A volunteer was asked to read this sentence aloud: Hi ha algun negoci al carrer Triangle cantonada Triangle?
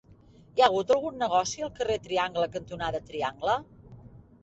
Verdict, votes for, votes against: rejected, 0, 2